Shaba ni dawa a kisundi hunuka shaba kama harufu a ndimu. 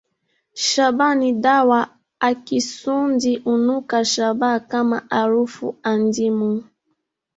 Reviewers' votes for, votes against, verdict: 0, 3, rejected